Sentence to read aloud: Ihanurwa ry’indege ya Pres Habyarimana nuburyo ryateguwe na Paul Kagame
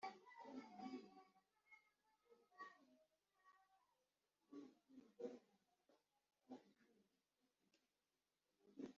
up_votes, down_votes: 0, 2